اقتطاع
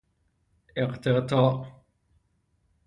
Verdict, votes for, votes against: accepted, 3, 0